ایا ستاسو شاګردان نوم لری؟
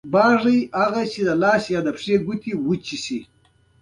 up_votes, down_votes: 2, 1